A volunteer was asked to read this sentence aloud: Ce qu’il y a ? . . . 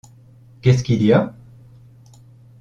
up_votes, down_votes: 0, 2